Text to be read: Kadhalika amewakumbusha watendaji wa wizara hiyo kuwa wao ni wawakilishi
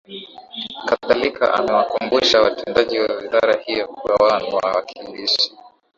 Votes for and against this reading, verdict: 1, 2, rejected